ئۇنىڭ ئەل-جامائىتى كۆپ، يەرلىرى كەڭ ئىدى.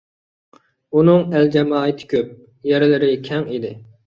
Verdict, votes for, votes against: accepted, 2, 0